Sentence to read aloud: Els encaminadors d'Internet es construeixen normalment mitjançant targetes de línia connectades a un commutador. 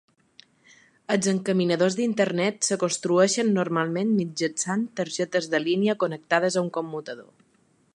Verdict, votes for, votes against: rejected, 0, 2